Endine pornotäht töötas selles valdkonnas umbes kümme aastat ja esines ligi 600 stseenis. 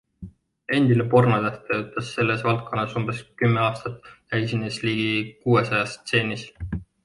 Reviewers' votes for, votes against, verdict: 0, 2, rejected